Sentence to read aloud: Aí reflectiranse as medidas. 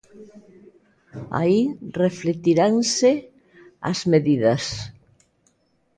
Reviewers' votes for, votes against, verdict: 2, 0, accepted